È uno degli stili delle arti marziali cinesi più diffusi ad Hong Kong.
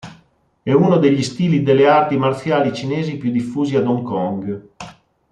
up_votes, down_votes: 2, 0